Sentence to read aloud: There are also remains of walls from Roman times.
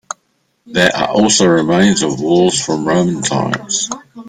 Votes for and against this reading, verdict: 2, 0, accepted